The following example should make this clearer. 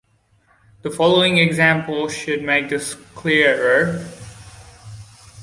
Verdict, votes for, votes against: accepted, 2, 0